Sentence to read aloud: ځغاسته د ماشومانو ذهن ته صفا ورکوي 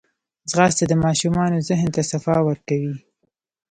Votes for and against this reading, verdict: 1, 2, rejected